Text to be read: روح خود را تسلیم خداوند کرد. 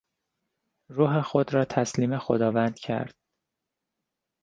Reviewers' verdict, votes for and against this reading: accepted, 2, 0